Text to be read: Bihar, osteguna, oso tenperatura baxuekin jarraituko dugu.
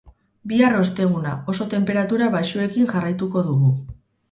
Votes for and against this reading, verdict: 4, 0, accepted